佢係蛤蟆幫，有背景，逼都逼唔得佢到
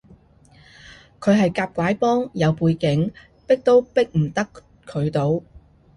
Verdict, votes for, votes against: rejected, 1, 2